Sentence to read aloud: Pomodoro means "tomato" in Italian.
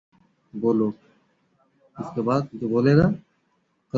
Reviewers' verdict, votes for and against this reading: rejected, 0, 2